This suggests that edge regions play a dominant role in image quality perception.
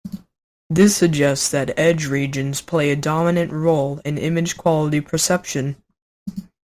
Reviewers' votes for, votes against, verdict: 2, 0, accepted